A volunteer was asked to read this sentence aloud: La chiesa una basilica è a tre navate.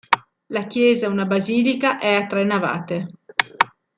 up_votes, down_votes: 2, 0